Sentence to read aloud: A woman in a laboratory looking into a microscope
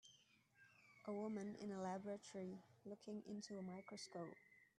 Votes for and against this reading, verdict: 2, 3, rejected